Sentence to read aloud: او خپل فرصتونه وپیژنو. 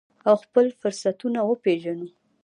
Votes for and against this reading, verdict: 1, 2, rejected